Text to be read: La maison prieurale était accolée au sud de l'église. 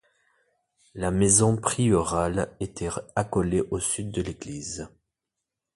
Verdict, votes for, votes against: rejected, 0, 2